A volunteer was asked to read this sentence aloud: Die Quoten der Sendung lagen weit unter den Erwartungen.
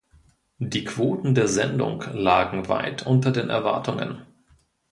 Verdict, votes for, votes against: accepted, 2, 0